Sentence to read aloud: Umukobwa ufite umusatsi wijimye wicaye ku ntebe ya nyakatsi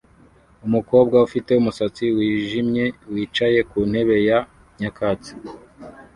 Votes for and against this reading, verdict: 2, 0, accepted